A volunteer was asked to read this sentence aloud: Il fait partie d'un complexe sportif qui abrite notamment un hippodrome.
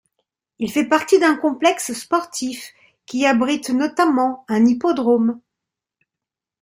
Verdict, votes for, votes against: rejected, 0, 2